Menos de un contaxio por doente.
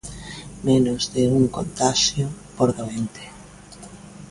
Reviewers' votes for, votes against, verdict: 2, 0, accepted